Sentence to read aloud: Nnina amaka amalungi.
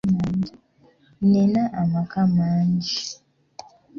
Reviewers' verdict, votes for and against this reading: rejected, 1, 2